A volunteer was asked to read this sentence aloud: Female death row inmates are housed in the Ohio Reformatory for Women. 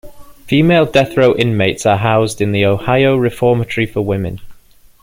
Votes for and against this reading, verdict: 2, 0, accepted